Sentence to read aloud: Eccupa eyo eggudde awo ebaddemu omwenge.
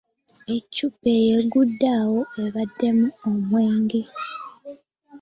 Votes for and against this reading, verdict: 2, 0, accepted